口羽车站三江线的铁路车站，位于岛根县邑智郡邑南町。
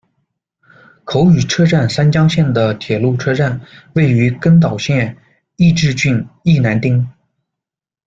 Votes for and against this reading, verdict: 1, 2, rejected